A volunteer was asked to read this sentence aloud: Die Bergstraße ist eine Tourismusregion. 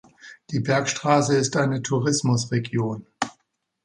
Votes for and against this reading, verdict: 2, 0, accepted